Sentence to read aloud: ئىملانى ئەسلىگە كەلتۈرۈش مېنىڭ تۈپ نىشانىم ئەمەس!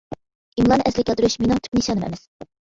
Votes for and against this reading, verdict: 1, 2, rejected